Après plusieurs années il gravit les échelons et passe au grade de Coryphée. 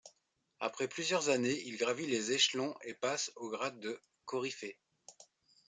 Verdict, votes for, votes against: accepted, 2, 0